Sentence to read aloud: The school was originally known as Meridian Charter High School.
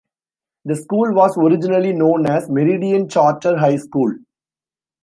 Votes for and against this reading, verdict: 2, 0, accepted